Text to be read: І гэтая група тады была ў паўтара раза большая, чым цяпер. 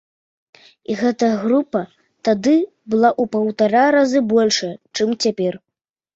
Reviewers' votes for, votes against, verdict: 0, 2, rejected